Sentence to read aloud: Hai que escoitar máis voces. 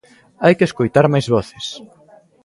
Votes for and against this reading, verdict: 1, 2, rejected